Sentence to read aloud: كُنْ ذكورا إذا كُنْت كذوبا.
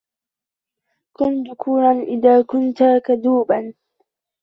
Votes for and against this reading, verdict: 1, 2, rejected